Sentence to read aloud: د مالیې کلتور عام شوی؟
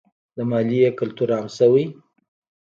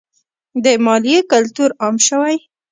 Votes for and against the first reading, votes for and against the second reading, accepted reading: 2, 0, 0, 2, first